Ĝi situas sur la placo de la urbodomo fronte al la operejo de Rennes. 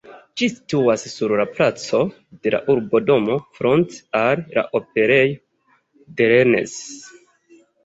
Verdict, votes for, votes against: rejected, 1, 3